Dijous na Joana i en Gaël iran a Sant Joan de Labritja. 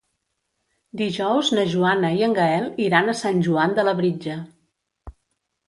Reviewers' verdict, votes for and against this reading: accepted, 2, 0